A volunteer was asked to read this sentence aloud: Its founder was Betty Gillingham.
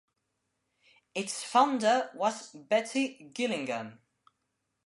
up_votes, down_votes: 2, 0